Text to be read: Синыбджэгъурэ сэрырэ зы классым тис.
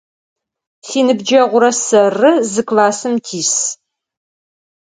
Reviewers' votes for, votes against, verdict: 4, 0, accepted